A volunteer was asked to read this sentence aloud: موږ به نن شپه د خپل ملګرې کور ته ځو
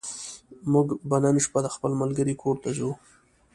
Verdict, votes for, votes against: accepted, 2, 0